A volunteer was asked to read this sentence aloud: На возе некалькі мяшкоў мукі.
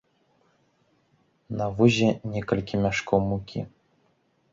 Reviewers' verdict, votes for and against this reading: accepted, 2, 0